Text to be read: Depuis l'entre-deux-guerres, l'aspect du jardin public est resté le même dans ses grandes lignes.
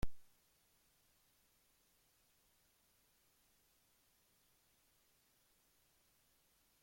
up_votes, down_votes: 0, 2